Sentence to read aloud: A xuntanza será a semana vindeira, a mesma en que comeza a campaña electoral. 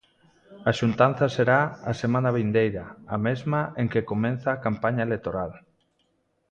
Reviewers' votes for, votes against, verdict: 1, 2, rejected